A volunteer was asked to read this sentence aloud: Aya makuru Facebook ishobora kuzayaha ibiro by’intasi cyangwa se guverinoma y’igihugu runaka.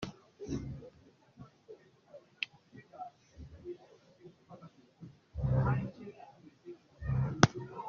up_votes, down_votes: 0, 2